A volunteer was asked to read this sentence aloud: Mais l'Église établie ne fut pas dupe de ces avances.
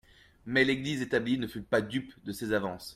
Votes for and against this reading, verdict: 2, 0, accepted